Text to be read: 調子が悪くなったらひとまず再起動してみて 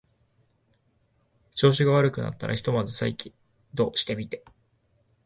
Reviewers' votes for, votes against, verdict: 1, 2, rejected